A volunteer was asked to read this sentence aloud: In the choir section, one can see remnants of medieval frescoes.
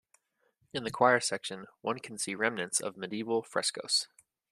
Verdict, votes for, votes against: accepted, 2, 0